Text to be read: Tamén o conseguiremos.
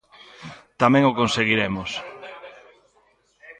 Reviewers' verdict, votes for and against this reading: rejected, 1, 2